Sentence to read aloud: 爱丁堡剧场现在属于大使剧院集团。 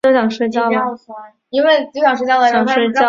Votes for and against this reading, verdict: 1, 3, rejected